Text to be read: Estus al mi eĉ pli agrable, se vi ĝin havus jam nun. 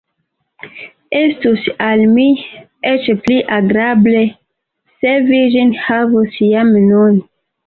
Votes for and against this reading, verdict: 1, 2, rejected